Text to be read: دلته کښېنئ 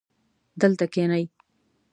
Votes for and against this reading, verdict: 2, 0, accepted